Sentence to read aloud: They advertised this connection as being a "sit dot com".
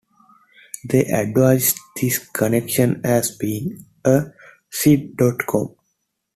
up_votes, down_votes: 2, 0